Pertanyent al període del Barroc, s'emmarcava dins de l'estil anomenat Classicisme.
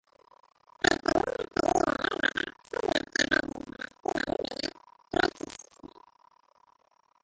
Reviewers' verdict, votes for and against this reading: rejected, 0, 2